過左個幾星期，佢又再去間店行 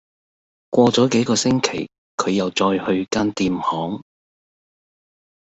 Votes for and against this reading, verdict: 1, 2, rejected